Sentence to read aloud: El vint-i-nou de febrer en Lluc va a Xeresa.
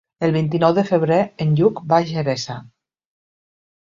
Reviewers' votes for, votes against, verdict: 2, 0, accepted